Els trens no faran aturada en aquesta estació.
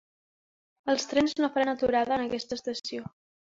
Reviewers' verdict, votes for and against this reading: accepted, 3, 0